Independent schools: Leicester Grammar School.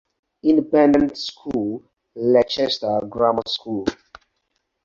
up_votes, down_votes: 2, 2